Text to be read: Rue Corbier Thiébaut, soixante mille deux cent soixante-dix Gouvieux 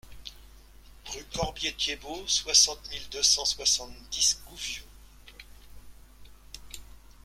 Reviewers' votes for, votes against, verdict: 2, 0, accepted